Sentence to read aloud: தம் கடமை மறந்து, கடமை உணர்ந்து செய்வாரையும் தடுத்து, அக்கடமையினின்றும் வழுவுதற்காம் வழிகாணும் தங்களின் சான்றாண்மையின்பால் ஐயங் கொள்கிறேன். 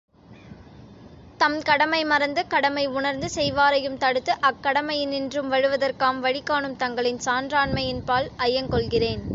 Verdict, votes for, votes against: accepted, 2, 0